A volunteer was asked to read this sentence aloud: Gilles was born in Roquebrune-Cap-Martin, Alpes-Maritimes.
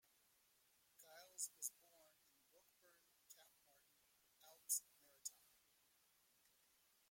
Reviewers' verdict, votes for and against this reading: rejected, 0, 2